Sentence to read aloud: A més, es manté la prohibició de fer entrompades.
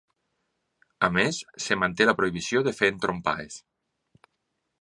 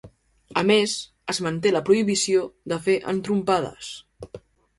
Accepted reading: second